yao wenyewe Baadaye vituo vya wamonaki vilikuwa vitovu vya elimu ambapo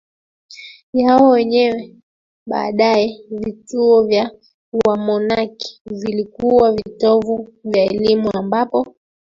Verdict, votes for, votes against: accepted, 2, 1